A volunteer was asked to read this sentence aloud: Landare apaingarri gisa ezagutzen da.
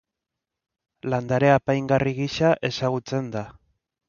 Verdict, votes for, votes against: accepted, 2, 0